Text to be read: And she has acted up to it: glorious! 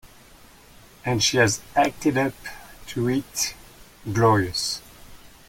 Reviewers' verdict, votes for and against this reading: rejected, 1, 2